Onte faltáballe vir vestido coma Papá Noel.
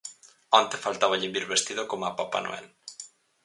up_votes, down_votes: 4, 0